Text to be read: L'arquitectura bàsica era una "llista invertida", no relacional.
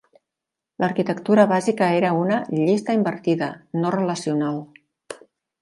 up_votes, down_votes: 4, 0